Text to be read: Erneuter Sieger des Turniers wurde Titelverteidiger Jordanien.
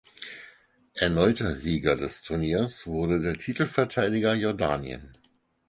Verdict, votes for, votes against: rejected, 0, 4